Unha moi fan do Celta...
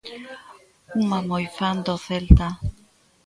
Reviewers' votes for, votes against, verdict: 2, 1, accepted